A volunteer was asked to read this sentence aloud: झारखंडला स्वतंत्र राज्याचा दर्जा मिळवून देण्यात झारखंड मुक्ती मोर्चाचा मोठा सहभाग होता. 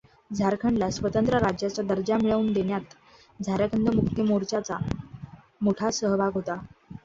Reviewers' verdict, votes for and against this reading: accepted, 2, 0